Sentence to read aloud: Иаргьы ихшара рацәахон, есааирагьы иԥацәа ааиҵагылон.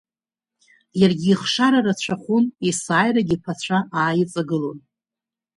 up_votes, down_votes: 2, 0